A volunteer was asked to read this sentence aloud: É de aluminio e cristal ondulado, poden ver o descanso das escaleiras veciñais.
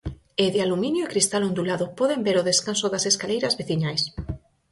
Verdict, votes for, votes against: accepted, 4, 0